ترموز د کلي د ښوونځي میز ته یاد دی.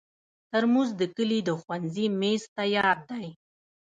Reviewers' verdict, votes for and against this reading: rejected, 1, 2